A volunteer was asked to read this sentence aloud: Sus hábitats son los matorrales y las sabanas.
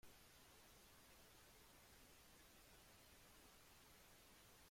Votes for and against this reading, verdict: 0, 2, rejected